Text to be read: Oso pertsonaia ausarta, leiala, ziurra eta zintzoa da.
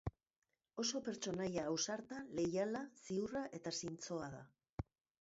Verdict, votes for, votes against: accepted, 5, 0